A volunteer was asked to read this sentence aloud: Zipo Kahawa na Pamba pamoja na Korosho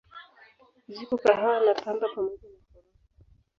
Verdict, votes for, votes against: rejected, 2, 3